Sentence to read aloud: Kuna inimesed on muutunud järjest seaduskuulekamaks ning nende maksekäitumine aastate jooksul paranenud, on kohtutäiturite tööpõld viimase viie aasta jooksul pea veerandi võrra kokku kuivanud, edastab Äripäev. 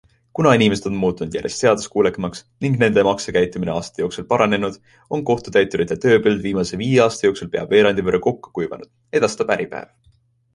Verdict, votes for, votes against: accepted, 2, 0